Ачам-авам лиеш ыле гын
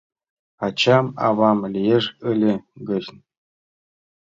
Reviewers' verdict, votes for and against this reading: rejected, 1, 2